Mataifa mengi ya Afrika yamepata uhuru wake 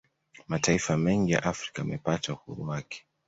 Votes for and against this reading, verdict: 2, 0, accepted